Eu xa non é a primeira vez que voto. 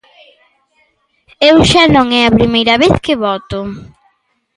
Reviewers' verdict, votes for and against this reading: accepted, 2, 0